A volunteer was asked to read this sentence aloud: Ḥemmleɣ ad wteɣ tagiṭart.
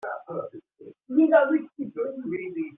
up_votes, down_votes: 0, 2